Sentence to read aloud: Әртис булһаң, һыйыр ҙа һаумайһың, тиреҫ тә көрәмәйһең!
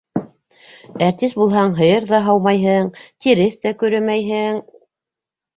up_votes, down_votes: 2, 0